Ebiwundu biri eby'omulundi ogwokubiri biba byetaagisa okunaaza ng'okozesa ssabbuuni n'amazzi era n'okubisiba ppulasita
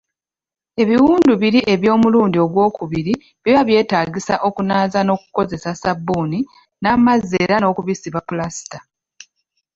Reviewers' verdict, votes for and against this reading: rejected, 1, 2